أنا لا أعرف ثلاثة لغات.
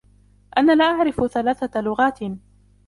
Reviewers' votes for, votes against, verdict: 0, 2, rejected